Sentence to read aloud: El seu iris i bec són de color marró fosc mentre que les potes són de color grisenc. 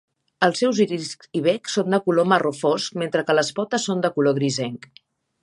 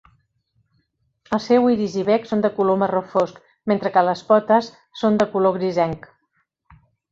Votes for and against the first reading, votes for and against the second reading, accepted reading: 0, 6, 3, 0, second